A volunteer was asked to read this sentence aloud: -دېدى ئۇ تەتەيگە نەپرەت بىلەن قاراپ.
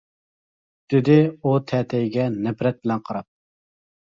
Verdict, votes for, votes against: accepted, 2, 0